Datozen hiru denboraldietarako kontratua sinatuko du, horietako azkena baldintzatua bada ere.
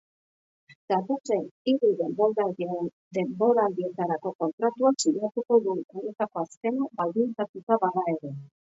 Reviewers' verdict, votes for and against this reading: rejected, 1, 3